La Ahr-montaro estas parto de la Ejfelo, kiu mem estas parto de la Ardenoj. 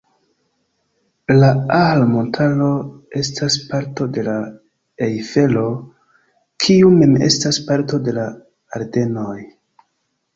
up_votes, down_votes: 2, 1